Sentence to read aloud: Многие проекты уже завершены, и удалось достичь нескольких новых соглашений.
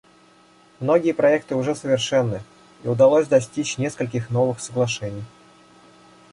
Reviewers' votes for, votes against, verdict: 0, 2, rejected